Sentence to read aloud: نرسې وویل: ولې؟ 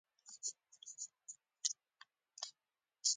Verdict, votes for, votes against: rejected, 0, 2